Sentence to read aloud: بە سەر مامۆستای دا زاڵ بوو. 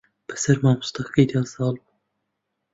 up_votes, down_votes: 0, 2